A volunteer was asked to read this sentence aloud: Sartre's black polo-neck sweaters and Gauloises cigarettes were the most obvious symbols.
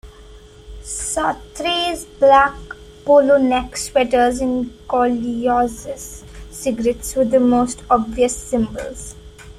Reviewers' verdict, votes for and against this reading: rejected, 0, 2